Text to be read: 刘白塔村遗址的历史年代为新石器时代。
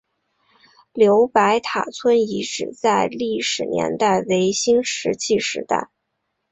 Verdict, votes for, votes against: accepted, 2, 0